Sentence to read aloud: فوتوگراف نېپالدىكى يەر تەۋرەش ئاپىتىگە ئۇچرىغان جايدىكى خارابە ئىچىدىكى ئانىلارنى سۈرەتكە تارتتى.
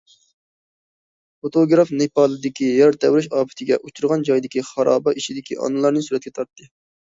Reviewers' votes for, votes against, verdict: 2, 0, accepted